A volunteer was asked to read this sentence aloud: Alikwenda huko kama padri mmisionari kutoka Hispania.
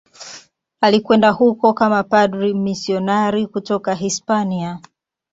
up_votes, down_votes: 2, 3